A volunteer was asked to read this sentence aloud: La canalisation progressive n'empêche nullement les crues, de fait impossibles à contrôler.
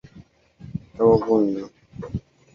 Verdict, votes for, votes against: rejected, 0, 2